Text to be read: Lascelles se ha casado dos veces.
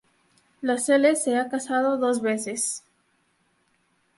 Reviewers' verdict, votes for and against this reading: accepted, 2, 0